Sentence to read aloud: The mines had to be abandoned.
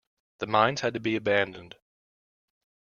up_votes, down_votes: 2, 0